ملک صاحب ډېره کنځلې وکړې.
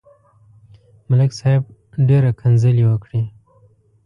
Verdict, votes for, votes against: accepted, 2, 0